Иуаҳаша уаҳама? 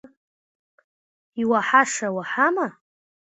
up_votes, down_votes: 1, 2